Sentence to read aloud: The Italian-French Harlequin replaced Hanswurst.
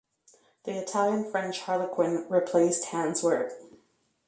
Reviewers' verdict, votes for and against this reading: accepted, 2, 0